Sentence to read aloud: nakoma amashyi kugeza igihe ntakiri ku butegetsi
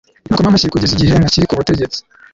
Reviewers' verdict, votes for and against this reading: accepted, 2, 1